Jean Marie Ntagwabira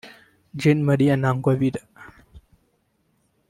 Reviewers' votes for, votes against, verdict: 1, 2, rejected